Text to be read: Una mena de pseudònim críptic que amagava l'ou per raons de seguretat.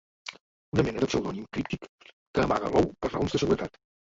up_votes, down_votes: 0, 2